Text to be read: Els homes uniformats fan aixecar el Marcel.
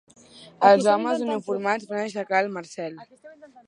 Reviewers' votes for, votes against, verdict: 1, 2, rejected